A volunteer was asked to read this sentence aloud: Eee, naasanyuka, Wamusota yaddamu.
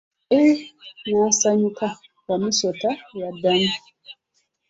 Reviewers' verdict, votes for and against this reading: accepted, 2, 0